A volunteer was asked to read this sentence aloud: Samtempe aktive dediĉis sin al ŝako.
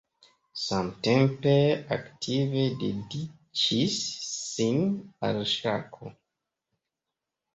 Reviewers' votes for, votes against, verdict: 2, 0, accepted